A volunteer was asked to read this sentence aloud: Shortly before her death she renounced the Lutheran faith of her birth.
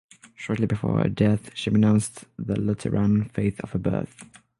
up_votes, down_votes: 6, 0